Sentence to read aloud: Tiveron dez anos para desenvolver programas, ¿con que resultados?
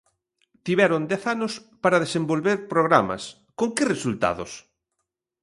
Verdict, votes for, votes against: accepted, 2, 0